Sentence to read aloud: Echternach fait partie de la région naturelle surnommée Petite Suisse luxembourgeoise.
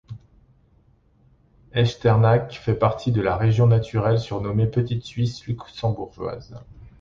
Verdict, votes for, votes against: accepted, 2, 0